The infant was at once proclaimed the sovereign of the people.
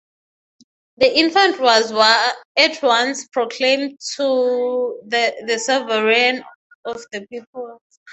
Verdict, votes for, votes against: rejected, 0, 6